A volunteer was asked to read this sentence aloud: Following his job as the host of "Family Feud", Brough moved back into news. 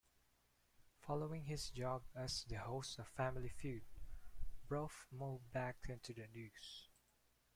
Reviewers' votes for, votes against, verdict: 1, 2, rejected